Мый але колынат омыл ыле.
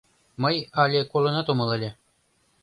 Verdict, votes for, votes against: accepted, 2, 0